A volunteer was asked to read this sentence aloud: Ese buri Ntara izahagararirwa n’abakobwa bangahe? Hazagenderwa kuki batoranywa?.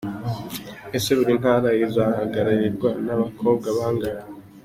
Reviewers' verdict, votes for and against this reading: rejected, 0, 2